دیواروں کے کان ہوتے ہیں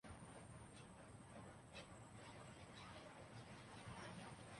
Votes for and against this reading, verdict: 0, 3, rejected